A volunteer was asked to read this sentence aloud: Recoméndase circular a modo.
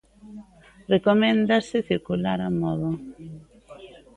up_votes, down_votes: 2, 0